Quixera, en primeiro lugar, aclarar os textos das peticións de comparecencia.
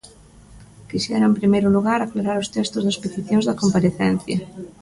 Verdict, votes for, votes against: rejected, 1, 2